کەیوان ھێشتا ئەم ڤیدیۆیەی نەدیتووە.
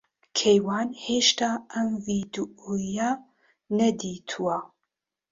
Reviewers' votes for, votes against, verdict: 0, 2, rejected